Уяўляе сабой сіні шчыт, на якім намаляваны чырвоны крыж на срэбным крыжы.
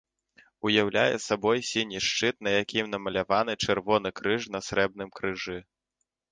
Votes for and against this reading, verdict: 2, 0, accepted